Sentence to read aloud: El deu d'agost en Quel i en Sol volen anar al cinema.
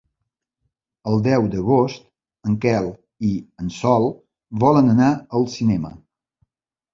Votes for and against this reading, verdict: 2, 0, accepted